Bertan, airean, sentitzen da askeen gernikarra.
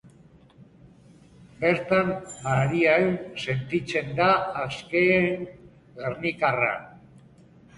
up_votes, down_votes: 0, 2